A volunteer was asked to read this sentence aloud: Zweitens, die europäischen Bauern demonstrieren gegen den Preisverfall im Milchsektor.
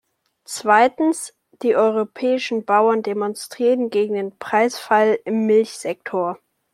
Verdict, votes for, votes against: rejected, 0, 2